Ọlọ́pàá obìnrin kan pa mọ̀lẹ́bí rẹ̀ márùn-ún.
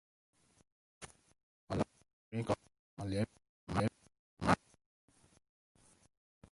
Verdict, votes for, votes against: rejected, 1, 2